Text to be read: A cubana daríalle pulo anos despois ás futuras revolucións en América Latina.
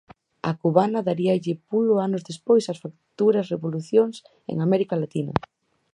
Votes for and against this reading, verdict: 2, 2, rejected